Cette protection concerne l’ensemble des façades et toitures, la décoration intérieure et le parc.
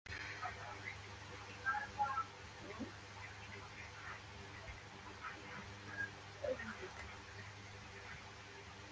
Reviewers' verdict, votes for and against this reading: rejected, 1, 2